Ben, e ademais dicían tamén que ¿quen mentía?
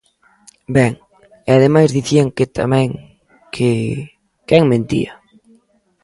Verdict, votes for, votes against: rejected, 0, 2